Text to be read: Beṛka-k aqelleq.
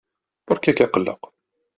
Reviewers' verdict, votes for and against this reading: accepted, 2, 0